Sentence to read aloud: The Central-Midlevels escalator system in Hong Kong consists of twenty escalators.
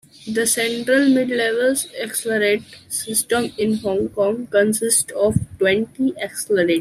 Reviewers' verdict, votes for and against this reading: rejected, 0, 2